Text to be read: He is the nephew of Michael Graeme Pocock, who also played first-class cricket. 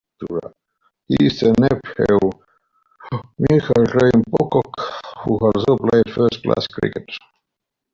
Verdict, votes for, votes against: rejected, 1, 2